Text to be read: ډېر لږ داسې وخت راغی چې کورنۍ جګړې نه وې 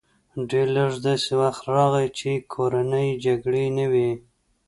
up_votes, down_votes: 2, 0